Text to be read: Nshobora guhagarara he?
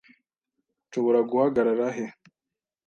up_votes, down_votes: 2, 0